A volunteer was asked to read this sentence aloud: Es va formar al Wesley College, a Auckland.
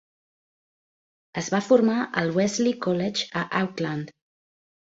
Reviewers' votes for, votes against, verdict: 0, 2, rejected